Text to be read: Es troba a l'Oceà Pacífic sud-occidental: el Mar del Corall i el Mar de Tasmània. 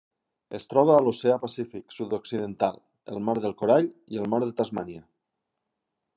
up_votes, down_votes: 3, 0